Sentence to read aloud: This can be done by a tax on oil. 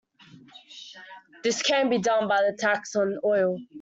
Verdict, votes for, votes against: rejected, 0, 2